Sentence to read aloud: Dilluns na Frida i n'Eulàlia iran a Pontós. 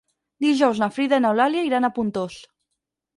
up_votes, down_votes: 2, 4